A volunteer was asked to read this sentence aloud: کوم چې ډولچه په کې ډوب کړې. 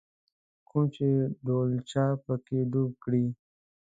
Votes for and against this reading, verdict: 3, 0, accepted